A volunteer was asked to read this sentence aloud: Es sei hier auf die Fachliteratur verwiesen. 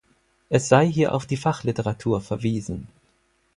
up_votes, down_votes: 4, 0